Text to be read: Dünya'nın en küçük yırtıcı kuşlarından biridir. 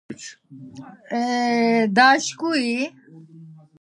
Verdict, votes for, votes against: rejected, 0, 2